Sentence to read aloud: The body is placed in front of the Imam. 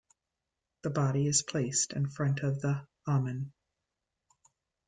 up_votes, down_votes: 0, 2